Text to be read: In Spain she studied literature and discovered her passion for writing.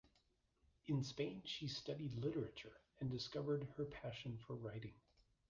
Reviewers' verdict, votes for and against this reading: accepted, 2, 0